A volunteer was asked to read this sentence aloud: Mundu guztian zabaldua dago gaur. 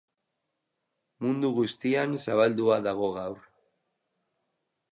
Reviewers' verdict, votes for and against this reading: accepted, 4, 0